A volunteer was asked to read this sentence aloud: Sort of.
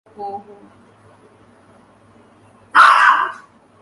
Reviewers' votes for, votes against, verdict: 0, 2, rejected